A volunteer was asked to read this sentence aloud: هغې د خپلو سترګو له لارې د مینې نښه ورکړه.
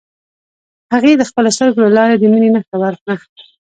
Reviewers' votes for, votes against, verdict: 2, 0, accepted